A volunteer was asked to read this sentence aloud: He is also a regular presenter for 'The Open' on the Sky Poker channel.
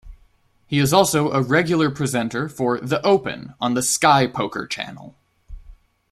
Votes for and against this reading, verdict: 2, 0, accepted